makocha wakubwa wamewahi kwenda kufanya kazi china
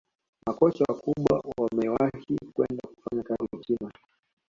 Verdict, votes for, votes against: accepted, 2, 1